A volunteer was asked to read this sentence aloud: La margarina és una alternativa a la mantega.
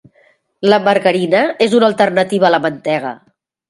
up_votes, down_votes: 2, 1